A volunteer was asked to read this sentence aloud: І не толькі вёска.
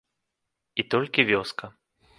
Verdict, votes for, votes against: rejected, 1, 2